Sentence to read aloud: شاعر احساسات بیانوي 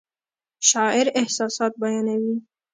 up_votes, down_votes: 2, 0